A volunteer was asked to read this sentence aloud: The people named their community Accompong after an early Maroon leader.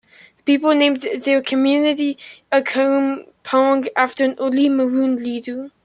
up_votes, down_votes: 1, 2